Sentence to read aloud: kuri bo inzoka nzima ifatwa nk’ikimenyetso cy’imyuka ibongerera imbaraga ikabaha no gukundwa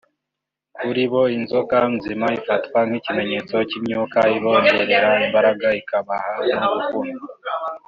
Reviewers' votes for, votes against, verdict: 2, 0, accepted